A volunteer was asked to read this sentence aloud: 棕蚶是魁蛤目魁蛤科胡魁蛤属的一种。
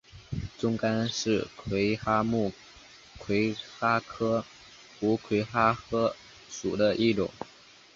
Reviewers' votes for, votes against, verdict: 3, 0, accepted